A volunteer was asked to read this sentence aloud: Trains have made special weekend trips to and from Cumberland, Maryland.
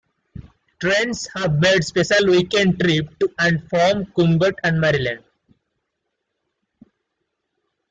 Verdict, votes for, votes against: rejected, 0, 2